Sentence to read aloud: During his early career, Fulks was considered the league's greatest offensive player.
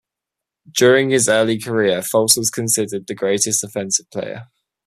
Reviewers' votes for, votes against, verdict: 2, 1, accepted